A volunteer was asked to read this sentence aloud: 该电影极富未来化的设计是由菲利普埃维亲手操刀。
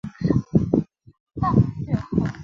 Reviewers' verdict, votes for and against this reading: rejected, 2, 3